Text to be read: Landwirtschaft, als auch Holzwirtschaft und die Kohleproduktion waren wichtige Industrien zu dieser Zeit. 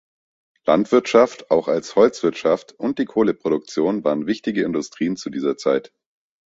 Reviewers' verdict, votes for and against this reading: rejected, 1, 3